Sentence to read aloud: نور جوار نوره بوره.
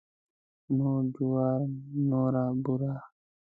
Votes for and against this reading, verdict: 2, 1, accepted